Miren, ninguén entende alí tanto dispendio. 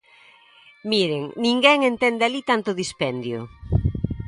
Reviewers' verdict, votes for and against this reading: accepted, 2, 0